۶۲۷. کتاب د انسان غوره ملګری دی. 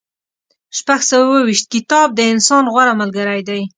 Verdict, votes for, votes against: rejected, 0, 2